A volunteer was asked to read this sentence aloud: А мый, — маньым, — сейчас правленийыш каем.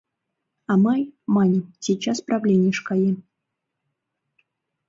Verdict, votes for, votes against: accepted, 2, 0